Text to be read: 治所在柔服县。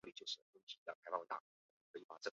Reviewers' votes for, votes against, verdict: 0, 2, rejected